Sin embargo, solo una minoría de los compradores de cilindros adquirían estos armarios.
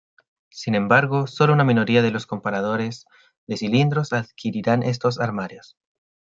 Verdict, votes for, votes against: rejected, 0, 2